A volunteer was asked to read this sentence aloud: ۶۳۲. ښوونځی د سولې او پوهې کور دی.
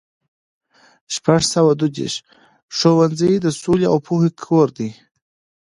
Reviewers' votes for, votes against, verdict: 0, 2, rejected